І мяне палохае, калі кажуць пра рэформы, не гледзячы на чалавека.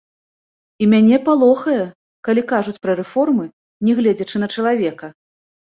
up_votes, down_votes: 0, 2